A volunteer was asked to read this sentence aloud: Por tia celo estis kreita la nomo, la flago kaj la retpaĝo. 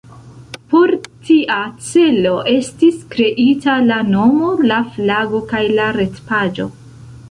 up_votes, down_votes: 2, 1